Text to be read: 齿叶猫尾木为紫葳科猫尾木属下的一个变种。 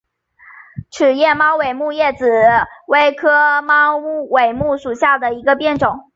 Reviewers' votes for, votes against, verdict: 2, 0, accepted